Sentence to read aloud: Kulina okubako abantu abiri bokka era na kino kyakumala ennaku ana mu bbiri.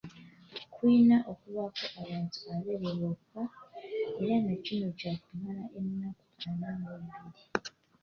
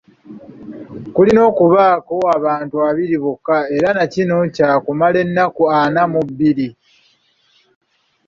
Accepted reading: second